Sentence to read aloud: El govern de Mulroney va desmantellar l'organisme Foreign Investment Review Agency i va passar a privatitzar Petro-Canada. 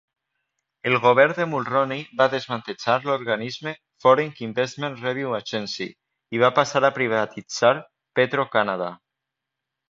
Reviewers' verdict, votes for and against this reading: rejected, 0, 2